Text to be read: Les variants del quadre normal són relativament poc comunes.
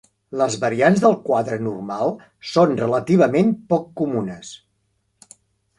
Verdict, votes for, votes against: accepted, 4, 0